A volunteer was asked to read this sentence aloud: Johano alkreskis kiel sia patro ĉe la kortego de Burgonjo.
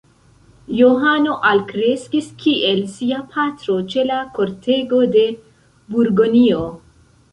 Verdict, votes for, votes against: rejected, 0, 2